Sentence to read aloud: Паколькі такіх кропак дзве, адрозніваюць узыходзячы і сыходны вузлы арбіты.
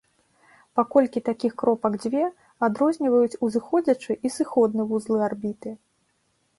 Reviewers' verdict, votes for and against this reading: accepted, 3, 0